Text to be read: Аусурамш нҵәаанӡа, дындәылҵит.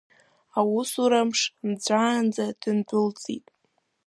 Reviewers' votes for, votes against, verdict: 2, 0, accepted